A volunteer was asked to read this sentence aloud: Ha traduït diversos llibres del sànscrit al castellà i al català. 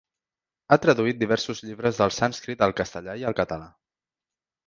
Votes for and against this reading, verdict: 2, 0, accepted